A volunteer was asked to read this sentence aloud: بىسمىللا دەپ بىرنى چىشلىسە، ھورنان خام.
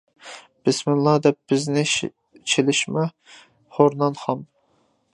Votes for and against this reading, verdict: 0, 2, rejected